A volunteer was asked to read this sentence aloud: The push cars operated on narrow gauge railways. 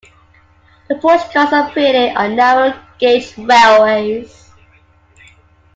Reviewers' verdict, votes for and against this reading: rejected, 1, 2